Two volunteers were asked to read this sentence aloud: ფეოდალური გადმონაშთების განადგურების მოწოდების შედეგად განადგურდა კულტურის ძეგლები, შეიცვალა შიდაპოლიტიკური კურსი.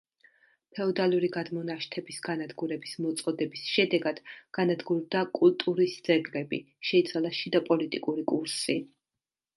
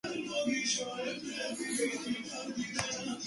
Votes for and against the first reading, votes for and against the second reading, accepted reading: 2, 0, 0, 2, first